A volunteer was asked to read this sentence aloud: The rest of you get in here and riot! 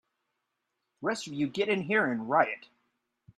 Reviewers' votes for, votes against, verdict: 2, 0, accepted